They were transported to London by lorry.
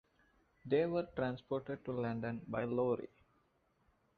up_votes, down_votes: 1, 2